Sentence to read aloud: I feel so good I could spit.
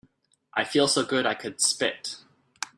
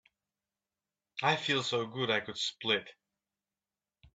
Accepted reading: first